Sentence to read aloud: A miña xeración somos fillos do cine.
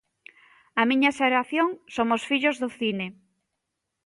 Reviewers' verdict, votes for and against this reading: accepted, 2, 0